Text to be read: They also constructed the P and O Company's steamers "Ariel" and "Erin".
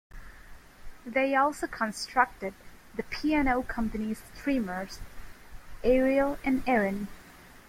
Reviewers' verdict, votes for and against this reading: rejected, 0, 2